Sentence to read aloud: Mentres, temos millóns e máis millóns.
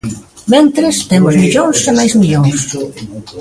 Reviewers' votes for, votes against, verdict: 0, 2, rejected